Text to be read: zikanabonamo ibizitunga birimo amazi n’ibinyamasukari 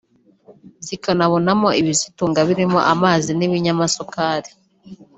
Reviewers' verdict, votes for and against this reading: accepted, 2, 1